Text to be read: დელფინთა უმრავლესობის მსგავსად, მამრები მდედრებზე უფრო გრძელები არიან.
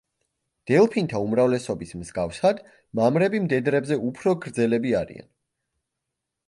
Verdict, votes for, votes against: accepted, 3, 0